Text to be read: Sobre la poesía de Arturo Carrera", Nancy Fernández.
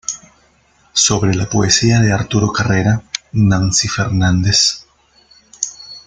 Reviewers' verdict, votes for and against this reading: rejected, 0, 2